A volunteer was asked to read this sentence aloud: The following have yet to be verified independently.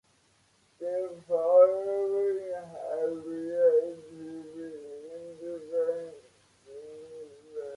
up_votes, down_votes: 0, 2